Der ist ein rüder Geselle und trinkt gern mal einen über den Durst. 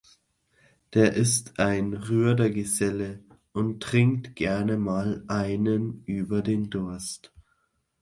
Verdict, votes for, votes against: rejected, 1, 2